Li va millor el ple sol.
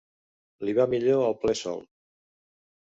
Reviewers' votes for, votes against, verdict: 2, 0, accepted